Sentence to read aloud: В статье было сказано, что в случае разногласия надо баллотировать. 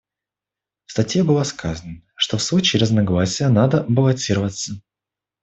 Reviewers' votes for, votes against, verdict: 1, 2, rejected